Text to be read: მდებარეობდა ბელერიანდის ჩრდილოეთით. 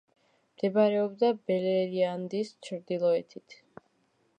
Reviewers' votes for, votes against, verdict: 2, 3, rejected